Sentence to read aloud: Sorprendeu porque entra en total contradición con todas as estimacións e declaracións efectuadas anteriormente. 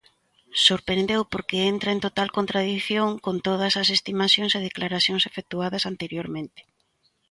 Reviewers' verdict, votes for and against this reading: accepted, 2, 0